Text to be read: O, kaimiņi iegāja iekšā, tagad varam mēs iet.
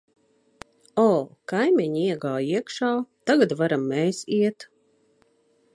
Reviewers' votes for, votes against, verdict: 2, 0, accepted